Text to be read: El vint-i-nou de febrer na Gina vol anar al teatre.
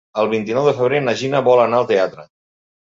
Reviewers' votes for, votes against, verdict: 3, 0, accepted